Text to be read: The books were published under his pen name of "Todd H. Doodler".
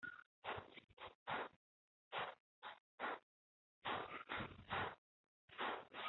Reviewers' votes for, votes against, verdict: 0, 2, rejected